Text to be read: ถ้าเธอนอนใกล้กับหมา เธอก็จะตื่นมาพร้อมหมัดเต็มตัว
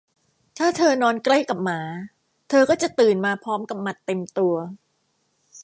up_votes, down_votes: 0, 2